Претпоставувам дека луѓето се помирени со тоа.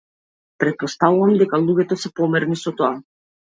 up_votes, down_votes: 0, 2